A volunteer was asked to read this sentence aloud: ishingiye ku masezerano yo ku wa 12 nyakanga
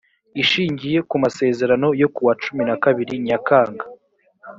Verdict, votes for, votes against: rejected, 0, 2